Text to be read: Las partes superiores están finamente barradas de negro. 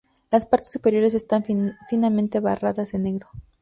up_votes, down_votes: 0, 2